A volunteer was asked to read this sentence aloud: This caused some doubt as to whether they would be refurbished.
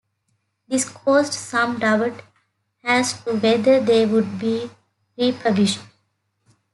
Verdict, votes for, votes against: rejected, 0, 2